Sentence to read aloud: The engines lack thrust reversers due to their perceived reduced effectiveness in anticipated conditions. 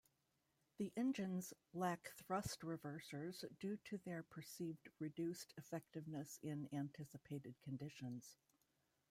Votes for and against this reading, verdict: 0, 2, rejected